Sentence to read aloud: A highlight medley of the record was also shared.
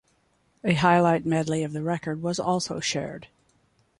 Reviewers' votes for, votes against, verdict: 2, 0, accepted